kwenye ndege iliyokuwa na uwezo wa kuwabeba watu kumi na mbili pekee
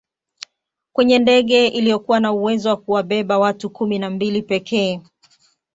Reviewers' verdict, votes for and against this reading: accepted, 2, 0